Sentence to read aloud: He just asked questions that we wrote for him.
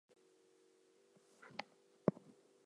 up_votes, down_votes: 0, 4